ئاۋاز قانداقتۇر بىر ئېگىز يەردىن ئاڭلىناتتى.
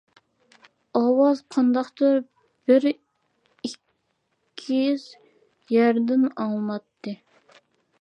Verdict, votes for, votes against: rejected, 0, 2